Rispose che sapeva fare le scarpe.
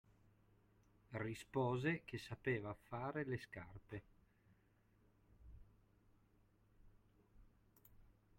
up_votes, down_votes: 0, 2